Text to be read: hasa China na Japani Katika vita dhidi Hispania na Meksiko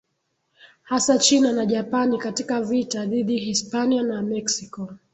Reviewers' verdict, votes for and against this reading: accepted, 3, 0